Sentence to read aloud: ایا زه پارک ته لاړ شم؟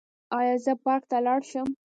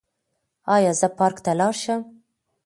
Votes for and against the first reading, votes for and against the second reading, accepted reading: 2, 0, 0, 2, first